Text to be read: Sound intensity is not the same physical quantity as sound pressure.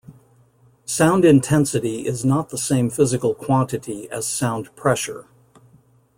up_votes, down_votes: 2, 0